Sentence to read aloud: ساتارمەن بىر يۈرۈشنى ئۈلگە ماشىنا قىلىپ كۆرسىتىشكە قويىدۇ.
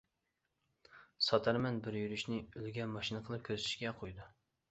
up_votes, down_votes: 2, 1